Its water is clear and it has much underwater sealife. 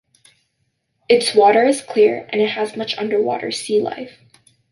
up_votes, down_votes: 2, 0